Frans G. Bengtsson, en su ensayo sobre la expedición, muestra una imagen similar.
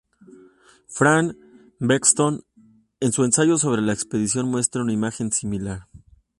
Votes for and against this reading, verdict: 0, 2, rejected